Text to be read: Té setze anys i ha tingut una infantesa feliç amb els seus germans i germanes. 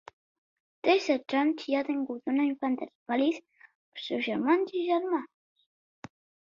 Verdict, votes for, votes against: rejected, 1, 2